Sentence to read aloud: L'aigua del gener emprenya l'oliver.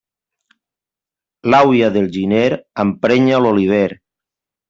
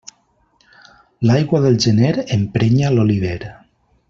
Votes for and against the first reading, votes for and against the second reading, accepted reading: 0, 2, 2, 1, second